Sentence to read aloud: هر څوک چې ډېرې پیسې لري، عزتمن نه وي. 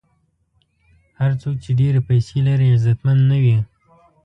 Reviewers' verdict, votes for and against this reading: accepted, 3, 0